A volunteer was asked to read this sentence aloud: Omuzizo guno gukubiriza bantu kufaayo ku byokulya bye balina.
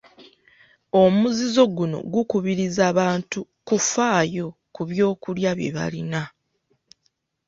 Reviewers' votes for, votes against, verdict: 2, 0, accepted